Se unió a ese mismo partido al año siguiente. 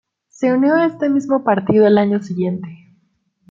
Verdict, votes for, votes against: accepted, 2, 1